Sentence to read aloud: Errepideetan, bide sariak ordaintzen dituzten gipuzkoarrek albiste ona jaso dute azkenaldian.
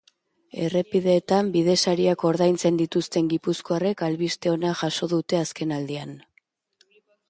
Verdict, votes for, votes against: accepted, 2, 0